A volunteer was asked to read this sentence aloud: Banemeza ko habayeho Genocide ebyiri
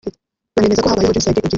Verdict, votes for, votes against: rejected, 1, 2